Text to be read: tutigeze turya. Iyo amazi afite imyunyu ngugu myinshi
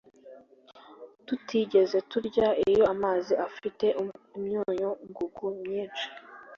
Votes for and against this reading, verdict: 2, 0, accepted